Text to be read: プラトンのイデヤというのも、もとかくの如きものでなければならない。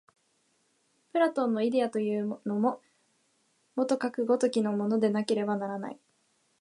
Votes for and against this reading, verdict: 1, 2, rejected